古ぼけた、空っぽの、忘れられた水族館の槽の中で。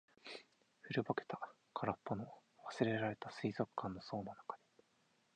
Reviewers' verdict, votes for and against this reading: rejected, 0, 4